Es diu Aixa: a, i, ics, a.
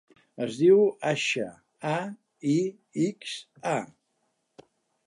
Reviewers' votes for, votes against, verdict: 2, 1, accepted